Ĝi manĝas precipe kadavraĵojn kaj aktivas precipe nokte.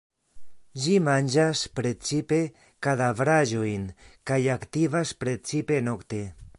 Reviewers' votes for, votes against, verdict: 1, 2, rejected